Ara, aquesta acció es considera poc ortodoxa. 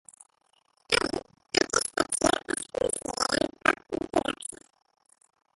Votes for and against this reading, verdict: 0, 3, rejected